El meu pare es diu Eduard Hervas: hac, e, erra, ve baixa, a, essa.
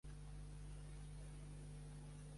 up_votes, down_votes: 1, 2